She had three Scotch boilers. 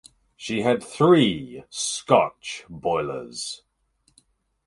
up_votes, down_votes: 4, 0